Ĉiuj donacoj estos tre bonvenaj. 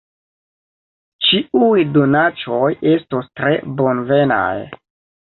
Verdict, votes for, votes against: rejected, 1, 2